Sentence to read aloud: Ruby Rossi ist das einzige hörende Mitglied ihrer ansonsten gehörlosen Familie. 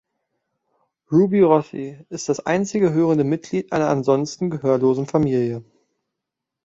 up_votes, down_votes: 0, 2